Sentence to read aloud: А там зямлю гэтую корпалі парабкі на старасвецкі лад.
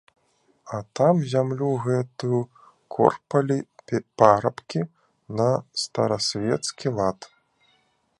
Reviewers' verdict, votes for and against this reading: rejected, 0, 2